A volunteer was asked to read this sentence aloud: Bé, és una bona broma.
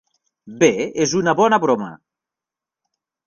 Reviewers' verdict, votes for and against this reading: accepted, 2, 0